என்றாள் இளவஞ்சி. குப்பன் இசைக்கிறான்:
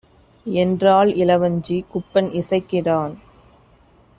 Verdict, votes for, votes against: accepted, 2, 0